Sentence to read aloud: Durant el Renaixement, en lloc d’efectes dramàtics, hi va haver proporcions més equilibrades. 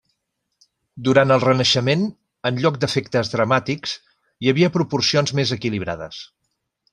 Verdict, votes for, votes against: rejected, 1, 2